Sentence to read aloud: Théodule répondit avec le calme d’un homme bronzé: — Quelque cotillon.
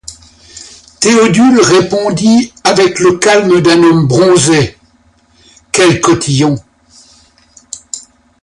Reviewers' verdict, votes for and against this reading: rejected, 0, 2